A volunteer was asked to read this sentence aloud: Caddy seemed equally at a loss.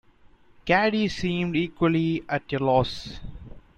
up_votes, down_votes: 2, 0